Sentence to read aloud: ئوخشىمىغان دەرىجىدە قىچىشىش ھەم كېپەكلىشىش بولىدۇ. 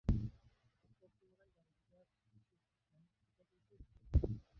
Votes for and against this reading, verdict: 0, 2, rejected